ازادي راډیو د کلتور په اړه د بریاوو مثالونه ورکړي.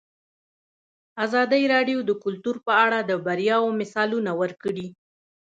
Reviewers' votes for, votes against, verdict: 0, 2, rejected